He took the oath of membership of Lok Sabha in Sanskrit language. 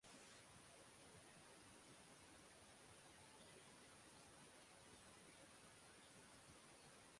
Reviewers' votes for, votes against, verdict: 0, 6, rejected